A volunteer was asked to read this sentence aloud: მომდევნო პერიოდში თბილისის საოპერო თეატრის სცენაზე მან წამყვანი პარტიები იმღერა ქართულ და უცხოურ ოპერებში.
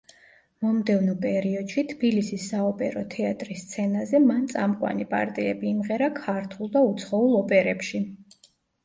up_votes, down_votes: 0, 2